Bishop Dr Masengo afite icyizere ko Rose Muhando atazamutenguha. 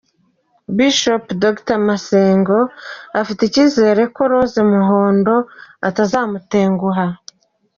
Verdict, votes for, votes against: rejected, 1, 2